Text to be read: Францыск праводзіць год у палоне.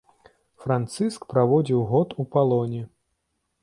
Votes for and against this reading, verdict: 1, 2, rejected